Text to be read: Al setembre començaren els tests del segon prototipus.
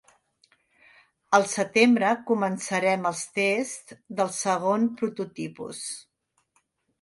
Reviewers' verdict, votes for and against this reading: rejected, 1, 2